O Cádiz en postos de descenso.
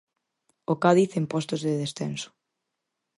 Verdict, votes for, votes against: accepted, 4, 0